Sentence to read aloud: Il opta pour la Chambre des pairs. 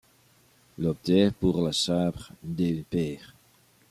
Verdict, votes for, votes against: accepted, 2, 0